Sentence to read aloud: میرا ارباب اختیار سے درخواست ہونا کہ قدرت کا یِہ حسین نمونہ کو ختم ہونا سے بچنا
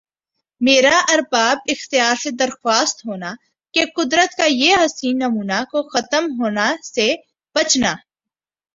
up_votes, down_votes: 3, 1